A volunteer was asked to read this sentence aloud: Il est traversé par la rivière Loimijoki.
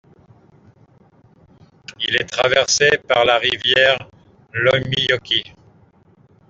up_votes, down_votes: 2, 0